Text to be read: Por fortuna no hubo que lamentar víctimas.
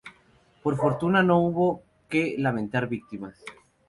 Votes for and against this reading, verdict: 0, 2, rejected